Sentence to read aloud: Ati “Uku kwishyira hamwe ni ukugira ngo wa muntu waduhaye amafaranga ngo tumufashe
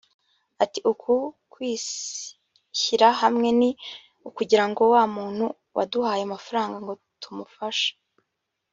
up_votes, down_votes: 1, 2